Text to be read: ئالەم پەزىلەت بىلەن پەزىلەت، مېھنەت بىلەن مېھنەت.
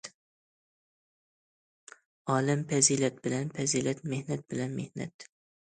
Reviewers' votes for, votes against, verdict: 2, 0, accepted